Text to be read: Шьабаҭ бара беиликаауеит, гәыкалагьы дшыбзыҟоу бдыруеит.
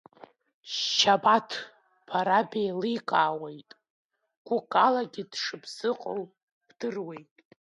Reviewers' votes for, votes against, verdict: 0, 2, rejected